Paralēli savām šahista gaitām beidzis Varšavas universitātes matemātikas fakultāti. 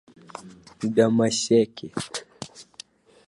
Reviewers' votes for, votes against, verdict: 1, 2, rejected